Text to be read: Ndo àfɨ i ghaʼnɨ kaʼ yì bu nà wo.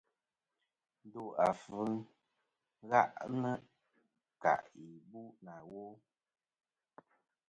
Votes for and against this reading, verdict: 1, 2, rejected